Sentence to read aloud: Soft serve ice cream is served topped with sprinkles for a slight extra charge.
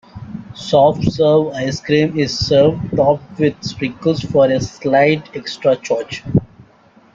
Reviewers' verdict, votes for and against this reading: accepted, 2, 0